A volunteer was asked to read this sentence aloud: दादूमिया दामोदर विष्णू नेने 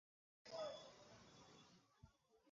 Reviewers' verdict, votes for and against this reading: rejected, 0, 2